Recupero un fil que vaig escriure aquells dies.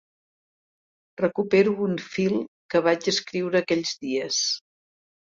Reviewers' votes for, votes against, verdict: 3, 0, accepted